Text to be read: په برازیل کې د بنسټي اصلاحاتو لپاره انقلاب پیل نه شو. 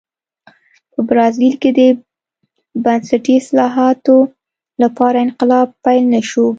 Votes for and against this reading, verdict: 2, 0, accepted